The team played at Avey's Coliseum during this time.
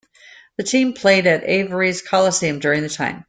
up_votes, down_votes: 0, 2